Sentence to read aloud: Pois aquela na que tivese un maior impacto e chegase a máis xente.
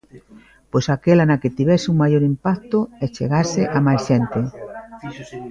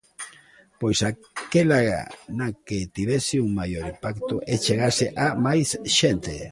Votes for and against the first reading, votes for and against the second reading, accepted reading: 0, 2, 2, 1, second